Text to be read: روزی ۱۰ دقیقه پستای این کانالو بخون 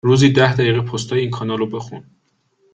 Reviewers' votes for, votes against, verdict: 0, 2, rejected